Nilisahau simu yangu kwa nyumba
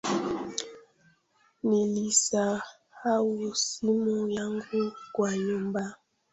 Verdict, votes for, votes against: rejected, 1, 2